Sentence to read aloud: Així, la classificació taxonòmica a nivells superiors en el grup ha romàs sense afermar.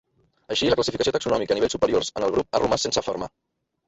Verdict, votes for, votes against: rejected, 0, 2